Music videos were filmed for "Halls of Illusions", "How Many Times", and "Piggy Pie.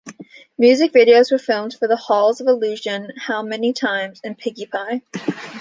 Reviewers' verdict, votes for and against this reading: rejected, 1, 2